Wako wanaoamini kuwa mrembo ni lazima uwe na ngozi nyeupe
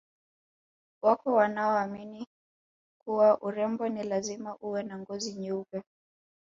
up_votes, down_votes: 1, 2